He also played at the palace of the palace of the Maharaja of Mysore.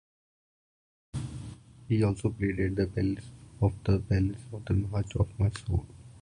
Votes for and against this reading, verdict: 1, 2, rejected